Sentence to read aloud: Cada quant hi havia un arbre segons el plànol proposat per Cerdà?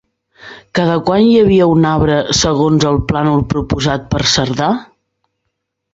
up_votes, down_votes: 3, 0